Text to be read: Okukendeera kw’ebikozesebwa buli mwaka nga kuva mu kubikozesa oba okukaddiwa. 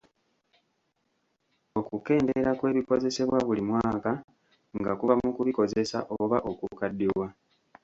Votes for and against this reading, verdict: 2, 1, accepted